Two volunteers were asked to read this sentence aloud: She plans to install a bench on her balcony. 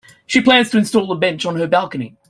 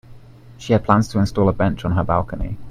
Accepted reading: first